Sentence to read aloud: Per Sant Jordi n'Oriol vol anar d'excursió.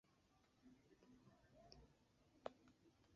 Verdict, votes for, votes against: rejected, 0, 2